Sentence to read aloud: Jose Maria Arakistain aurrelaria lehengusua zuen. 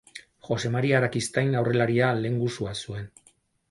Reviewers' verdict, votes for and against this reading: accepted, 2, 0